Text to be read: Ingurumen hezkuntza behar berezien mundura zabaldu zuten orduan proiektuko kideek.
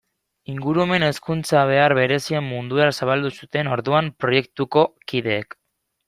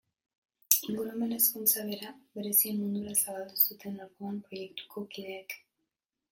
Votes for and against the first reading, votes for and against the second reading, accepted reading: 2, 0, 1, 2, first